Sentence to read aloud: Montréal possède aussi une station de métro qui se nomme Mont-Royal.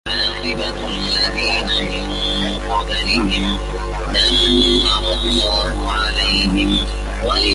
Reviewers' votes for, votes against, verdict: 0, 2, rejected